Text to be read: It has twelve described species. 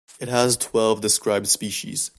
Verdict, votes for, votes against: accepted, 2, 0